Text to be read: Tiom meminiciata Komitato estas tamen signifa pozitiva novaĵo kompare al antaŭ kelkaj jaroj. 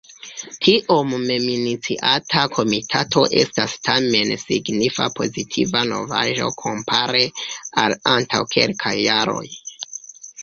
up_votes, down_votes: 2, 1